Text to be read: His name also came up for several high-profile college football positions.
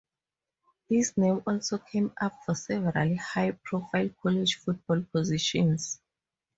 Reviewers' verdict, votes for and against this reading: rejected, 2, 2